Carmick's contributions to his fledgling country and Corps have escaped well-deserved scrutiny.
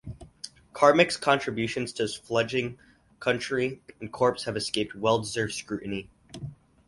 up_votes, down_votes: 4, 0